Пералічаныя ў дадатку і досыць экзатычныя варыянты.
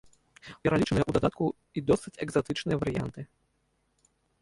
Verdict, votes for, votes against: rejected, 1, 2